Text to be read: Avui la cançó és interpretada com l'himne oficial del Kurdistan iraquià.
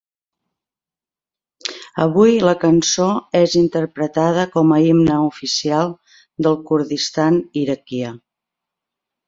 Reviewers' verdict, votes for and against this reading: rejected, 0, 2